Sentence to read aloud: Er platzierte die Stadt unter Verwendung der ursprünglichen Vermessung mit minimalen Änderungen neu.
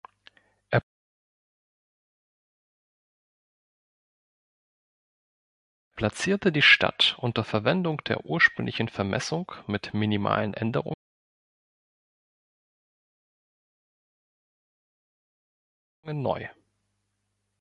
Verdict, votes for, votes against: rejected, 0, 2